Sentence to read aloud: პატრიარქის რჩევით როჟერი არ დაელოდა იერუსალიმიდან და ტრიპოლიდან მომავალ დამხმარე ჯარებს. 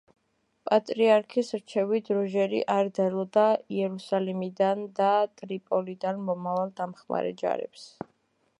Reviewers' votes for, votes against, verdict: 1, 2, rejected